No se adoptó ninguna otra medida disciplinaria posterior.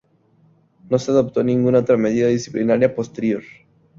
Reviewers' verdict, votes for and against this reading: accepted, 2, 0